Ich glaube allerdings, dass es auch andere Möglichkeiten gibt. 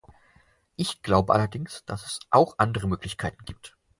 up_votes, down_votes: 0, 4